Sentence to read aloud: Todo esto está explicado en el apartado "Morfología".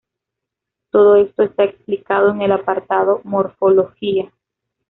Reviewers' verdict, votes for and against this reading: accepted, 2, 1